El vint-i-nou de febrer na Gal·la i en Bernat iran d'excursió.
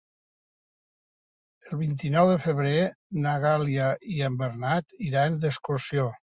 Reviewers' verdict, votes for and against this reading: rejected, 0, 2